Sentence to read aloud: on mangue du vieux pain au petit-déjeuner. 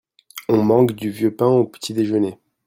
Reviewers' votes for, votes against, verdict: 2, 0, accepted